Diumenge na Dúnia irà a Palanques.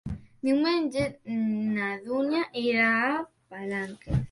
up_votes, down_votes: 0, 2